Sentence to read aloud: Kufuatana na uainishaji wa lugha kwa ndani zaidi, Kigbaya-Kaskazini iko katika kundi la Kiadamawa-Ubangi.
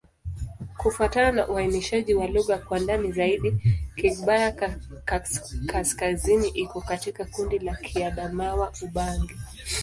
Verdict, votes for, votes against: rejected, 0, 2